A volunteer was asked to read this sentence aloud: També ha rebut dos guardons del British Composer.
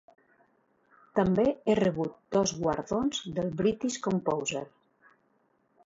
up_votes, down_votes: 0, 2